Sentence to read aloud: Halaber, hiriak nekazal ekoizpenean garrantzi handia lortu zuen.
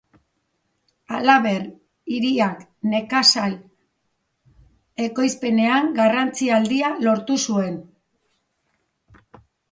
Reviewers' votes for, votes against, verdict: 1, 2, rejected